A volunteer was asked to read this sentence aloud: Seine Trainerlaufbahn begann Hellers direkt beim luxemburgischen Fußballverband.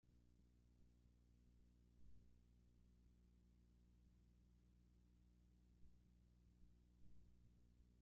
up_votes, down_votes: 0, 2